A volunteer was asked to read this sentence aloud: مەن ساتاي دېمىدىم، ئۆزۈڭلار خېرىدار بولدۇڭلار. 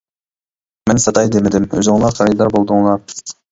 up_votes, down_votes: 2, 1